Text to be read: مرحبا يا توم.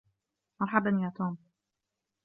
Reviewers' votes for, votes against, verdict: 1, 2, rejected